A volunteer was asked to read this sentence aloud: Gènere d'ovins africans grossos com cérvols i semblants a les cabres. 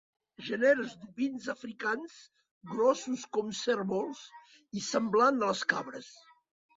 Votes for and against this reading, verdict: 4, 5, rejected